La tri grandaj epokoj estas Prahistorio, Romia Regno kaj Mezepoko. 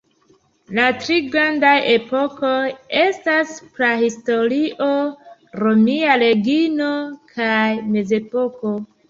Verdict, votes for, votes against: rejected, 1, 2